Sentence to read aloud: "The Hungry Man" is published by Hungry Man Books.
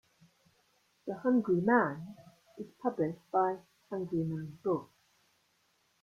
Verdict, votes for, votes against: accepted, 2, 1